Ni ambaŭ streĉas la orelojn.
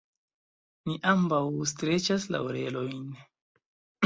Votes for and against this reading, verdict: 1, 2, rejected